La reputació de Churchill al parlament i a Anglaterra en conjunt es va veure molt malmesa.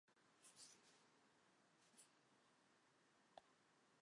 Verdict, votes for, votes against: rejected, 0, 2